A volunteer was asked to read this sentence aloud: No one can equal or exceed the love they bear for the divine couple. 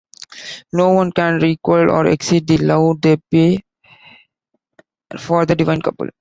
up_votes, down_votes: 1, 2